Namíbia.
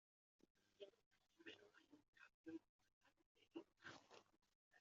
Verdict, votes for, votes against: rejected, 0, 2